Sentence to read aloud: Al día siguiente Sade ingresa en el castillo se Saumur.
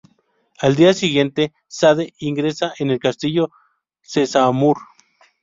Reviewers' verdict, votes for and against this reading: rejected, 0, 2